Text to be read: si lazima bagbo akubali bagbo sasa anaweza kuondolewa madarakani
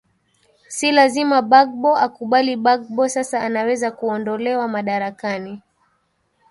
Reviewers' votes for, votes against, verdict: 1, 2, rejected